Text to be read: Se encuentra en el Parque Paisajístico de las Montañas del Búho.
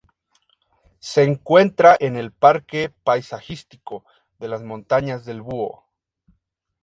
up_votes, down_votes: 2, 0